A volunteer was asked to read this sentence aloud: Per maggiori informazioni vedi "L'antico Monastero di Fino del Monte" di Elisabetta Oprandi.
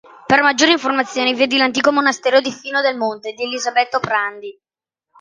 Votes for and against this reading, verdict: 1, 2, rejected